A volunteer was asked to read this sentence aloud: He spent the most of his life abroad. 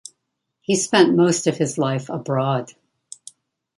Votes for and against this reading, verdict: 1, 2, rejected